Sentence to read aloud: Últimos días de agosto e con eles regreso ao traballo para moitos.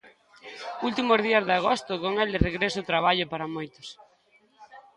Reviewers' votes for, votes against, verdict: 0, 2, rejected